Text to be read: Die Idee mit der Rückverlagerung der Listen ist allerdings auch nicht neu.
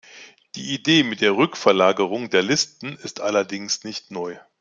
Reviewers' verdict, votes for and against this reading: rejected, 0, 2